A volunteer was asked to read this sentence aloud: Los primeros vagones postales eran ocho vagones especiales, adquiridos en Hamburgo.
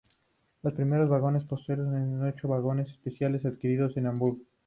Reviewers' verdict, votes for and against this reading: accepted, 2, 0